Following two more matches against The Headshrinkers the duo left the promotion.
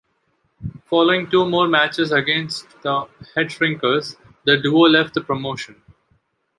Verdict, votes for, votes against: accepted, 2, 0